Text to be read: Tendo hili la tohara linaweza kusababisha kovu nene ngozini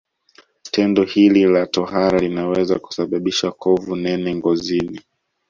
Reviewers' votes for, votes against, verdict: 2, 0, accepted